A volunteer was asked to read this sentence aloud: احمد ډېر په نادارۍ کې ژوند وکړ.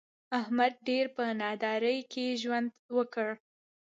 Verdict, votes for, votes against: accepted, 2, 1